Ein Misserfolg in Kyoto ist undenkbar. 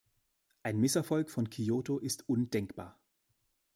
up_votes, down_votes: 1, 2